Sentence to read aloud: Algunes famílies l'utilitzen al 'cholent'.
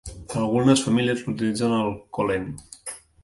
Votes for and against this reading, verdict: 2, 1, accepted